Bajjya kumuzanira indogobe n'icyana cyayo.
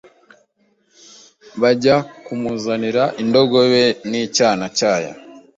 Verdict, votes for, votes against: accepted, 2, 0